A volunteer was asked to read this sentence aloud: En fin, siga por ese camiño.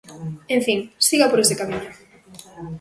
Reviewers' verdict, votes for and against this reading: accepted, 2, 0